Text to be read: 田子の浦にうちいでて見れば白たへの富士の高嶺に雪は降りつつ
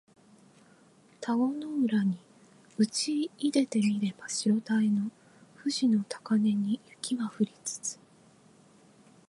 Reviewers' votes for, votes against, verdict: 2, 0, accepted